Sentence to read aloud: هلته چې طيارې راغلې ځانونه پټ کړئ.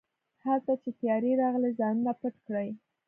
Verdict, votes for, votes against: rejected, 1, 2